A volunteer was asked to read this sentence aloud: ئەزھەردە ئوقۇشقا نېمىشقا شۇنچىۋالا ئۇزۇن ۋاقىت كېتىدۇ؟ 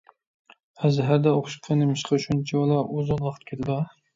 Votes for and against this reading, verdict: 1, 2, rejected